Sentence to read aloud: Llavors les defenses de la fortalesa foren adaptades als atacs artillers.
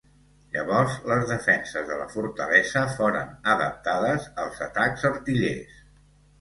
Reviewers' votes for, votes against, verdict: 2, 0, accepted